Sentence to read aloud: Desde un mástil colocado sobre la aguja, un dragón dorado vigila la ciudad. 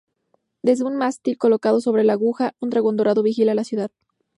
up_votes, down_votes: 4, 0